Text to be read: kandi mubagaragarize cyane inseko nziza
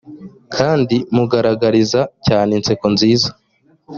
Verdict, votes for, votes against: rejected, 1, 2